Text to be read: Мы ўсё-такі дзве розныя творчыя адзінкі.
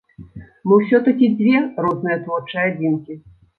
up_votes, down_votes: 2, 0